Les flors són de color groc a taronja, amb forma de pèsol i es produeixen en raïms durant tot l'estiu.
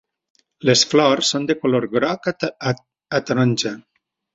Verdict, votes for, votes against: rejected, 0, 2